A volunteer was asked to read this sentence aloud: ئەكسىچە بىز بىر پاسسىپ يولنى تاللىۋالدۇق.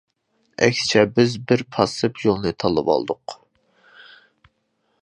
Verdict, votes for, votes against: accepted, 2, 0